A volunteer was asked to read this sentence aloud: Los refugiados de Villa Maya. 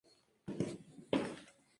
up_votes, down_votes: 0, 4